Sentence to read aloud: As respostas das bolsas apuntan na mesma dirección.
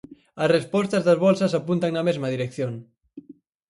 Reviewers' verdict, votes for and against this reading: accepted, 4, 0